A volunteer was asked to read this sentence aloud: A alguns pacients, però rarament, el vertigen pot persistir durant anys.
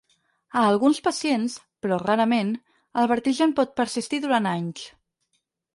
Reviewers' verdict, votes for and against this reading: accepted, 4, 0